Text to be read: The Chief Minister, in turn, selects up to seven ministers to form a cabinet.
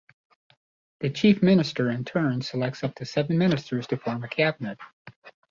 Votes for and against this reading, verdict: 2, 1, accepted